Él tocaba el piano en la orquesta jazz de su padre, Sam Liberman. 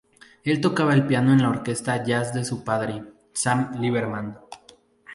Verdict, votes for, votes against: accepted, 2, 0